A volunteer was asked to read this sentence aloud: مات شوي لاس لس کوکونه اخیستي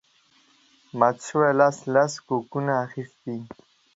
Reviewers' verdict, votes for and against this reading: accepted, 2, 0